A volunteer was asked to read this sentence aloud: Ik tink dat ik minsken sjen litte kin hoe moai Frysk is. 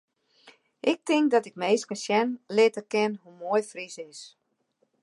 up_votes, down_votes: 1, 2